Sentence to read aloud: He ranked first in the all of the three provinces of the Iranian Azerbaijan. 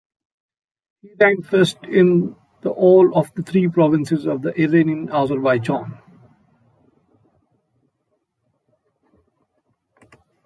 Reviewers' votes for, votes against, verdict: 0, 2, rejected